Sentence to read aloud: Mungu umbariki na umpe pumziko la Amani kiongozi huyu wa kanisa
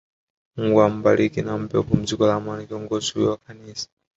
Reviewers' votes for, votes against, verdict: 0, 2, rejected